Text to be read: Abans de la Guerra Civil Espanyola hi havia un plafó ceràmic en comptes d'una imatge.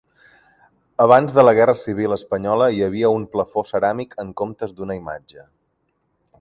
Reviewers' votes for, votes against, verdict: 2, 0, accepted